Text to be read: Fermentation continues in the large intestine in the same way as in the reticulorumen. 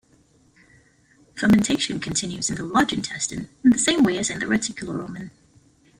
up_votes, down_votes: 0, 2